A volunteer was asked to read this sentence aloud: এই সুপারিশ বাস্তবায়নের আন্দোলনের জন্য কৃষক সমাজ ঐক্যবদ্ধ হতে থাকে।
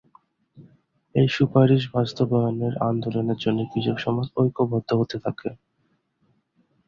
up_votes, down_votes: 0, 2